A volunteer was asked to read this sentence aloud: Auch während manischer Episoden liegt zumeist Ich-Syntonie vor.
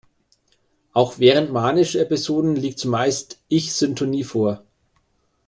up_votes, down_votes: 2, 0